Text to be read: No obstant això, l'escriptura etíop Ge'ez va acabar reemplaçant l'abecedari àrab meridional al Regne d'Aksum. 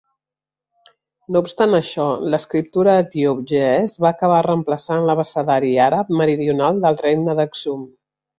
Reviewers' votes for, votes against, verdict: 1, 2, rejected